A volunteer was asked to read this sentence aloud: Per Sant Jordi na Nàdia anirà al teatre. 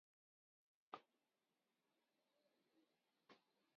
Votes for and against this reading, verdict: 2, 4, rejected